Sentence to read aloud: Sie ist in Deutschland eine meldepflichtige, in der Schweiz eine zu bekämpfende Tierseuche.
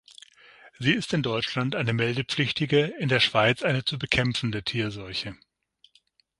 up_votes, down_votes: 6, 0